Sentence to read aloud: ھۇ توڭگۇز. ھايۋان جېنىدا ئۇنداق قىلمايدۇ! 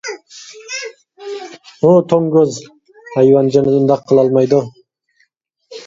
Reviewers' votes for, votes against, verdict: 0, 2, rejected